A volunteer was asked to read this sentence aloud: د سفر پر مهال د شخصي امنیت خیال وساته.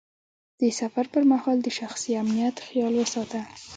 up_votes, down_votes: 0, 2